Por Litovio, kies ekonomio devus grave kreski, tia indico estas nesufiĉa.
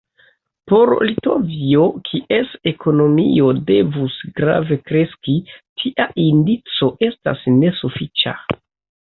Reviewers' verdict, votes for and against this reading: accepted, 2, 0